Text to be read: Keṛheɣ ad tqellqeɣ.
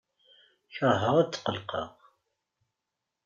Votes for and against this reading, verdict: 2, 0, accepted